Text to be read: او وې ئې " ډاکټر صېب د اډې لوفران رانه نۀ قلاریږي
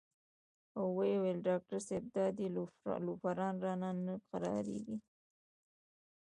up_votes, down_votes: 3, 2